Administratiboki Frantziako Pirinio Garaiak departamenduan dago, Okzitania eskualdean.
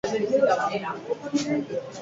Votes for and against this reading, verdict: 0, 4, rejected